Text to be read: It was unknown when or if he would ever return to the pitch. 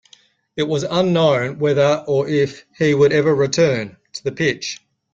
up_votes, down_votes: 2, 1